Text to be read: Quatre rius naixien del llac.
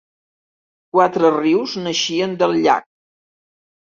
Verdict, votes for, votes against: accepted, 3, 0